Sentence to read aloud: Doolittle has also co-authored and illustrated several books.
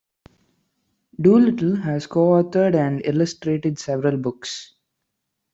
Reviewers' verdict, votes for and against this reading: accepted, 2, 0